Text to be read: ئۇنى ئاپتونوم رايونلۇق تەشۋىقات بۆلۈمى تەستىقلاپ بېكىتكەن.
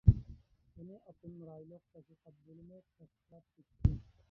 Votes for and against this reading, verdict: 1, 2, rejected